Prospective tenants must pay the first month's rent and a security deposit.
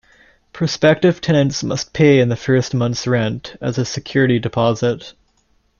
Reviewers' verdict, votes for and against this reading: rejected, 0, 2